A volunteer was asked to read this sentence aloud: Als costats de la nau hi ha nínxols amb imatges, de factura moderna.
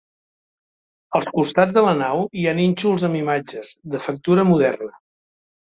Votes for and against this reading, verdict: 2, 0, accepted